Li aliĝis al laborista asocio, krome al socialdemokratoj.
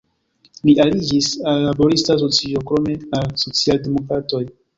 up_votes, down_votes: 1, 2